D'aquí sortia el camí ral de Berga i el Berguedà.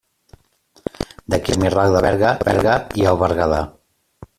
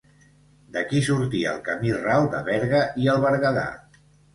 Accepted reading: second